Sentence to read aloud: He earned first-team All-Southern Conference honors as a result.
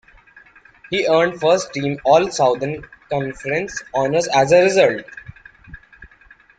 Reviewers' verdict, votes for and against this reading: rejected, 0, 2